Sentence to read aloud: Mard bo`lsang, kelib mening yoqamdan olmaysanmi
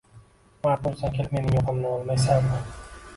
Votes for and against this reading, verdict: 1, 2, rejected